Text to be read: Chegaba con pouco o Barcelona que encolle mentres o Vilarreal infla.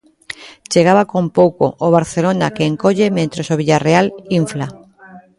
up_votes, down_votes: 0, 2